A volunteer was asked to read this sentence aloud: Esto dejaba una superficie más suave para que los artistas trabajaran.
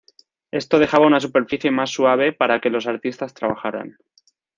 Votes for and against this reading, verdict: 2, 0, accepted